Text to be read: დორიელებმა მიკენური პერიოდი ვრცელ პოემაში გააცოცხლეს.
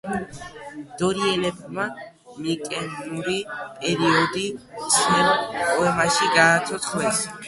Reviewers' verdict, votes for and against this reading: rejected, 1, 2